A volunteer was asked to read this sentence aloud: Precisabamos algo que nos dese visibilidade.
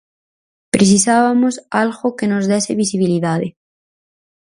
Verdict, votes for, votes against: rejected, 2, 4